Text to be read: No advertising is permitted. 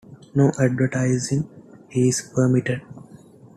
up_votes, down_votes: 2, 0